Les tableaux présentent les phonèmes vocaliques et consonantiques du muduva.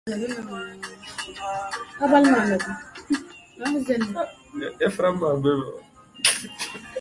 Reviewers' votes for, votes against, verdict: 0, 2, rejected